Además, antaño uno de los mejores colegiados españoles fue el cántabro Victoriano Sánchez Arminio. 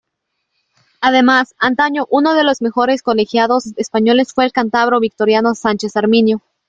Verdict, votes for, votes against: rejected, 1, 2